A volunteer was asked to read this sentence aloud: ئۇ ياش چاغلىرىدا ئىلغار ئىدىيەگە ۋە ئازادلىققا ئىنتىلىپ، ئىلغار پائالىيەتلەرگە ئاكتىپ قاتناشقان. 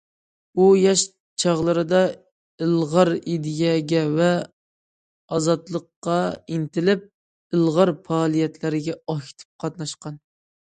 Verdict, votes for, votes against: accepted, 2, 0